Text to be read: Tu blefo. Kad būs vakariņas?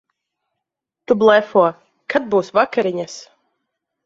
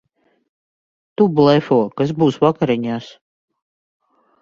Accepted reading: first